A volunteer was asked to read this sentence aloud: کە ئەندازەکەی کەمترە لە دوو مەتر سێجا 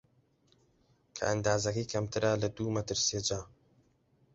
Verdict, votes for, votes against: accepted, 2, 0